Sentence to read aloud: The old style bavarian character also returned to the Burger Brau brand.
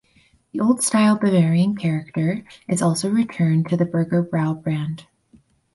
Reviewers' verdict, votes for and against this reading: rejected, 0, 2